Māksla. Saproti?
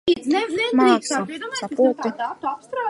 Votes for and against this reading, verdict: 0, 2, rejected